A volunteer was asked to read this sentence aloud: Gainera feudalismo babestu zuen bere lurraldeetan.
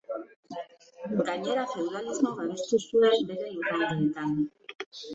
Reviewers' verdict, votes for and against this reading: accepted, 3, 2